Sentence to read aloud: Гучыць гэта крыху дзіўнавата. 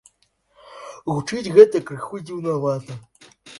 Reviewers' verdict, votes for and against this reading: accepted, 2, 0